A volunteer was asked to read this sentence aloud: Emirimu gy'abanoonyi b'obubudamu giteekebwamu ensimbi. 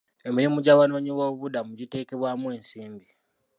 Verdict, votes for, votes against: accepted, 2, 1